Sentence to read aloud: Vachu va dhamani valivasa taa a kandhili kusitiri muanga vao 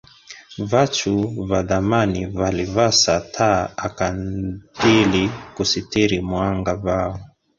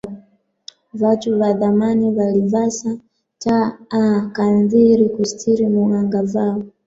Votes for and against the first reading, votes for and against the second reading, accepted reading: 1, 2, 2, 1, second